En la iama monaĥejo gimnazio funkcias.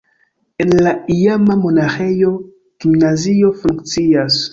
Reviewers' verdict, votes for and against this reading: accepted, 2, 0